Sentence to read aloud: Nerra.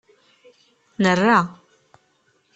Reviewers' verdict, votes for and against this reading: accepted, 2, 0